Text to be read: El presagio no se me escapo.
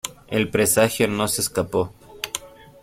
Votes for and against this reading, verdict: 0, 2, rejected